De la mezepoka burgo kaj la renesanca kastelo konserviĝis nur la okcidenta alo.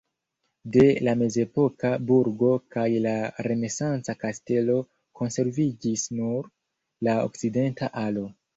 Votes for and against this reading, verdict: 1, 2, rejected